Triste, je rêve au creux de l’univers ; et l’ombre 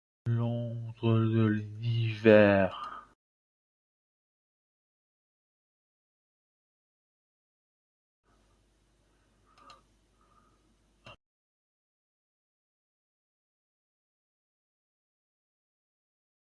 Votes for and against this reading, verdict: 0, 2, rejected